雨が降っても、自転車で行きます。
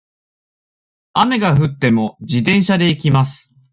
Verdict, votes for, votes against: accepted, 2, 0